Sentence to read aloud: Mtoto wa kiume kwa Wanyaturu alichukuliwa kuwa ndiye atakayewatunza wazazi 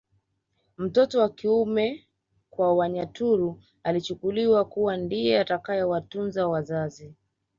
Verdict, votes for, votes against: rejected, 1, 2